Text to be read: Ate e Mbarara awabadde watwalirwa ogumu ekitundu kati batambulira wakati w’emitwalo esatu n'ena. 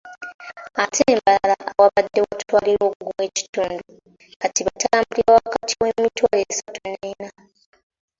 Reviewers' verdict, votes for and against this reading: rejected, 1, 2